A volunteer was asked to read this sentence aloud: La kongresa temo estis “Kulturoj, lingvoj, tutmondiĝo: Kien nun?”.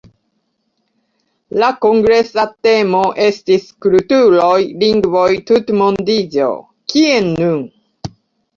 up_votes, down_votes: 2, 0